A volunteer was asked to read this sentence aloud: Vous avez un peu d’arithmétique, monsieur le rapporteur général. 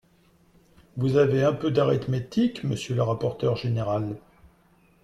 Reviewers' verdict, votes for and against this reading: accepted, 2, 0